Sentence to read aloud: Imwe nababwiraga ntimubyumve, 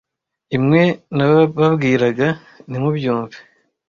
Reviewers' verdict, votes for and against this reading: rejected, 1, 2